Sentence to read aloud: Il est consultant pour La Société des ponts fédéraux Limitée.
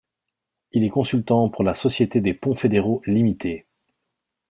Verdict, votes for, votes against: accepted, 2, 0